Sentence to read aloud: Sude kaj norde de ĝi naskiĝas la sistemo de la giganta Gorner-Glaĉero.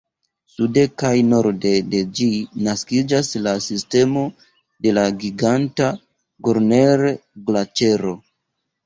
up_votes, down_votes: 2, 0